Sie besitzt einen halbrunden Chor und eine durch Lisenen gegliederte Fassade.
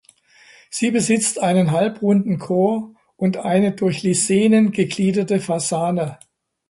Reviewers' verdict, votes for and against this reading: rejected, 1, 2